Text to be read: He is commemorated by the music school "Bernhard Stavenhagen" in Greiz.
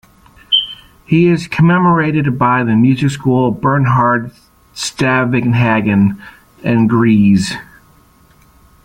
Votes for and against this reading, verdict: 0, 2, rejected